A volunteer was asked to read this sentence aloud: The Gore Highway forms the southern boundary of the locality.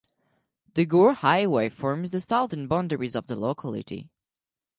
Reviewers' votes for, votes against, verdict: 0, 2, rejected